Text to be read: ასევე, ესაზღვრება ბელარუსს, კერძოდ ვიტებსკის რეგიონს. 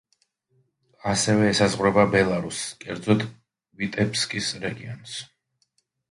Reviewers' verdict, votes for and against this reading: accepted, 2, 0